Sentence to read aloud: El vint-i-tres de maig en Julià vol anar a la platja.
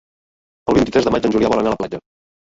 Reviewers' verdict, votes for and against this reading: accepted, 2, 0